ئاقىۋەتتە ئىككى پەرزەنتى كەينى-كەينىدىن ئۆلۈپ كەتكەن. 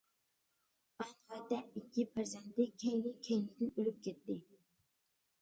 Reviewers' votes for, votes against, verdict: 0, 2, rejected